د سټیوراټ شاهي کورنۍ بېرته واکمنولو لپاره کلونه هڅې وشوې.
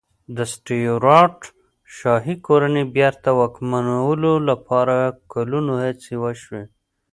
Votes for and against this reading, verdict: 2, 0, accepted